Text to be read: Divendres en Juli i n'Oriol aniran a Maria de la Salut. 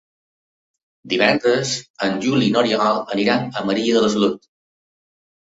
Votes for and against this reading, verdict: 2, 0, accepted